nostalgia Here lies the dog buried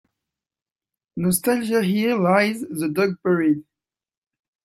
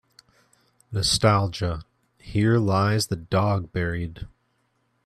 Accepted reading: second